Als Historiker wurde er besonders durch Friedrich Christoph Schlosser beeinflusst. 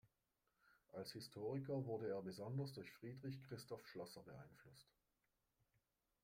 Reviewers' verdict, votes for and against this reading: accepted, 2, 1